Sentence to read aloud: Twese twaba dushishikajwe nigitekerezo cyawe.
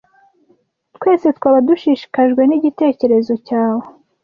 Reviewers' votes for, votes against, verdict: 2, 0, accepted